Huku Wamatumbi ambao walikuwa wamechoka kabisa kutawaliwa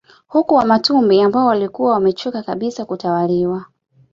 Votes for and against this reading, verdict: 2, 0, accepted